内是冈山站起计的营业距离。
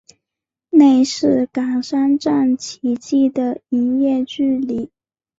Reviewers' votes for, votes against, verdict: 1, 2, rejected